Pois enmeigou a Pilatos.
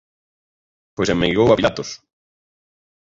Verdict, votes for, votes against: rejected, 0, 2